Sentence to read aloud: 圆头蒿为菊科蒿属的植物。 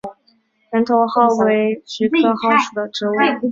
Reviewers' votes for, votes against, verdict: 2, 0, accepted